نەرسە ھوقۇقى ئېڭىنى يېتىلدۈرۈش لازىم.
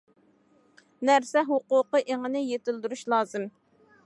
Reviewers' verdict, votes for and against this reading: accepted, 2, 0